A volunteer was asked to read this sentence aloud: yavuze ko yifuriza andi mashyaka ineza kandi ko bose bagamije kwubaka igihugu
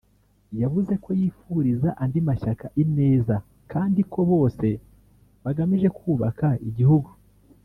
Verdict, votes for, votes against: accepted, 2, 0